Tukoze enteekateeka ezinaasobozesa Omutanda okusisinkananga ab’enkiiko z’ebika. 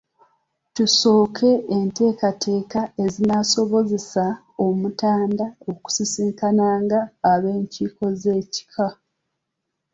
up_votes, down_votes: 1, 2